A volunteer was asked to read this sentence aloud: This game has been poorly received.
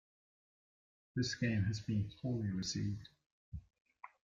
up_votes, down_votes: 2, 0